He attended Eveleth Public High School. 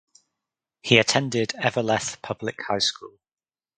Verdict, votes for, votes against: accepted, 4, 0